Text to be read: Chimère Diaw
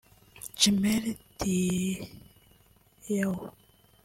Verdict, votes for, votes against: rejected, 0, 2